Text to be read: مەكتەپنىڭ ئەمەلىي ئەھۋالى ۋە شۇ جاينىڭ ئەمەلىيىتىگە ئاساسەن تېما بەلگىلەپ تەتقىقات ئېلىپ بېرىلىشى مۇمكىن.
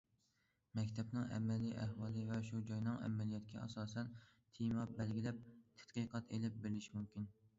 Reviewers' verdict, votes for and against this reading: accepted, 2, 1